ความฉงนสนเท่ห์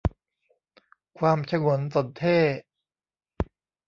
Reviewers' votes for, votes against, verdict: 2, 0, accepted